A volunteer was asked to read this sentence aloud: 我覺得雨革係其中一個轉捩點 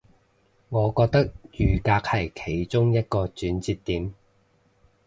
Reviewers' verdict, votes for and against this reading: accepted, 2, 0